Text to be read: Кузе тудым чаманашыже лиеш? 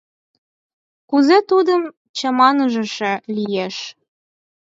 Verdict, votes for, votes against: rejected, 0, 4